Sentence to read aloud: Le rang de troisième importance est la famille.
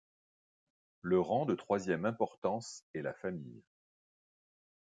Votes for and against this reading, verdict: 2, 0, accepted